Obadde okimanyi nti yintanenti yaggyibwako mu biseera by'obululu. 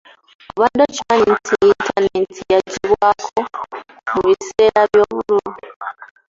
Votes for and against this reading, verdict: 0, 2, rejected